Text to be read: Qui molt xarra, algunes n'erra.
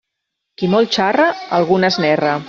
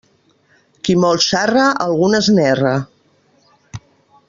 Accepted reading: first